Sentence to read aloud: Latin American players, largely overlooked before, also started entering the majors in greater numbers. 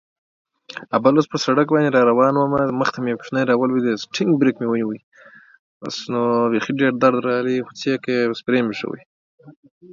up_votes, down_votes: 0, 4